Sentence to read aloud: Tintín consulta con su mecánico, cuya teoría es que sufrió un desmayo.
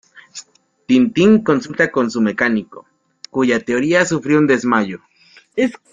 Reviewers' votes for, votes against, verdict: 0, 2, rejected